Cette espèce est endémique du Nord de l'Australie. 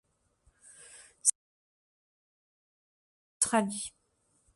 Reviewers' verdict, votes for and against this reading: rejected, 0, 2